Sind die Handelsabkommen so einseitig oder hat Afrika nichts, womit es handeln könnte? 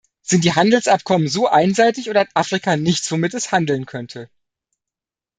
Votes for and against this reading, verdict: 2, 0, accepted